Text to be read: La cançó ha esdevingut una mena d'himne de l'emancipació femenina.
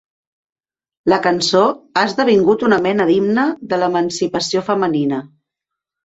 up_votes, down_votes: 2, 0